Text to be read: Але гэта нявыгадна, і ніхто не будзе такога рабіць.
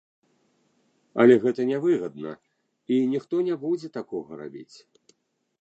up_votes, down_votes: 1, 2